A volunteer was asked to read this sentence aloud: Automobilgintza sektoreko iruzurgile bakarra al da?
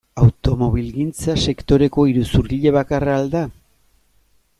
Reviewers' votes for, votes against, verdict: 2, 0, accepted